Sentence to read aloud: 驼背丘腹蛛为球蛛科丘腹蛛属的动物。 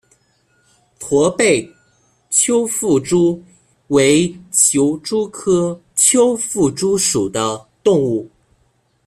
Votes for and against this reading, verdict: 2, 0, accepted